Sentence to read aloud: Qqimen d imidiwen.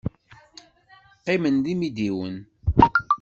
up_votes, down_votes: 2, 0